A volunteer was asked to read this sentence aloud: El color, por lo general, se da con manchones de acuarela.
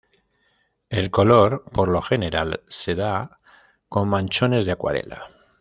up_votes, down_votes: 2, 0